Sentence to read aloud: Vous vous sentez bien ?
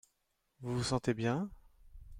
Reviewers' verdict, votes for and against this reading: accepted, 2, 0